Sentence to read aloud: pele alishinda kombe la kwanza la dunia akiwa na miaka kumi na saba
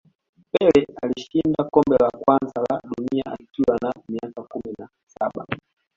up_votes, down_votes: 2, 0